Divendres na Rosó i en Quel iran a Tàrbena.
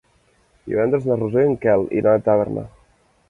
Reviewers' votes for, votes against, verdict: 1, 3, rejected